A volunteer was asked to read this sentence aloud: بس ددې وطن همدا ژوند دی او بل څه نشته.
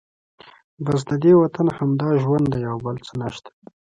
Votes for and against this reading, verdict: 2, 0, accepted